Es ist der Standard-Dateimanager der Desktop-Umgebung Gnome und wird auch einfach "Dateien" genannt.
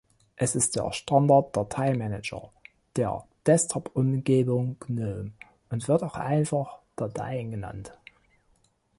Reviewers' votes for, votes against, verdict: 2, 0, accepted